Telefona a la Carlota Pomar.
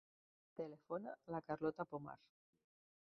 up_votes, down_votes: 1, 2